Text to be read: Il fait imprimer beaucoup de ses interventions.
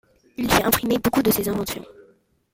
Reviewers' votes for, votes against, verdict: 0, 2, rejected